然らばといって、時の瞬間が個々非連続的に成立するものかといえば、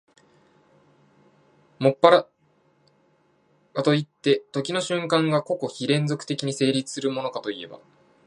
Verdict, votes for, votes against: rejected, 0, 2